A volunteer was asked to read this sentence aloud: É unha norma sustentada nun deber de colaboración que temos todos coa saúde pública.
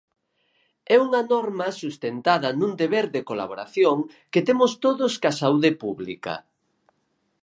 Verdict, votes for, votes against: accepted, 4, 0